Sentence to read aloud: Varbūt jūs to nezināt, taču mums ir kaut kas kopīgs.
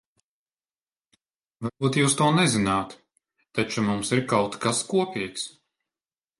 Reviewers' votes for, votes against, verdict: 1, 2, rejected